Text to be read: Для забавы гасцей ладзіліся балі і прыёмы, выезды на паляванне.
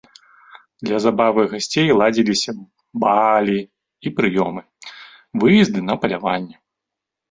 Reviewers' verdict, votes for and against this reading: rejected, 0, 2